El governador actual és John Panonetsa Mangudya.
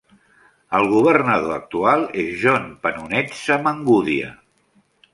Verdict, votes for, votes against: accepted, 2, 0